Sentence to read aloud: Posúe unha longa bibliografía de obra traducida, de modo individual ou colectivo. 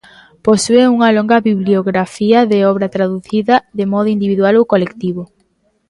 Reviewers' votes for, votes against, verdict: 2, 0, accepted